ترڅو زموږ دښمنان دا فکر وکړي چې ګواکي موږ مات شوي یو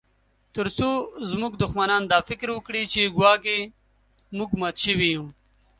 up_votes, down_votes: 3, 0